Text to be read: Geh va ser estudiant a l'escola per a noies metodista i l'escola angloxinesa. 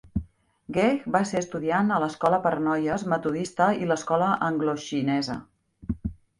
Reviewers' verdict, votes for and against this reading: rejected, 1, 2